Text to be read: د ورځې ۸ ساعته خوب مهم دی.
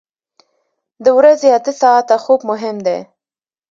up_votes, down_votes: 0, 2